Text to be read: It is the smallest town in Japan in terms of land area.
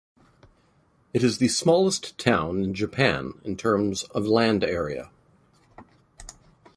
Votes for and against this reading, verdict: 2, 0, accepted